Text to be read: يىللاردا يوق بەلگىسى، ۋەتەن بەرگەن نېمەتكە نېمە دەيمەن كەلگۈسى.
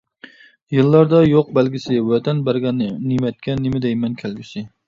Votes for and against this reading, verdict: 0, 2, rejected